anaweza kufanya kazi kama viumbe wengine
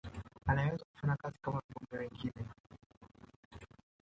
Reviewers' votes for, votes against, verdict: 0, 2, rejected